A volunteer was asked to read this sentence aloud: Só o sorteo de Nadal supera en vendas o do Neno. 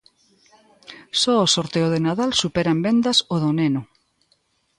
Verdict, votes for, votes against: accepted, 2, 0